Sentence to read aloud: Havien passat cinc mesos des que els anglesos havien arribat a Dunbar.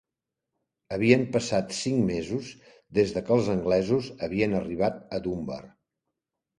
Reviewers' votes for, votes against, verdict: 1, 2, rejected